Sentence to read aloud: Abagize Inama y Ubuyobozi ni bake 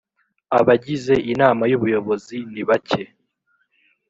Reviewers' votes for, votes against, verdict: 2, 0, accepted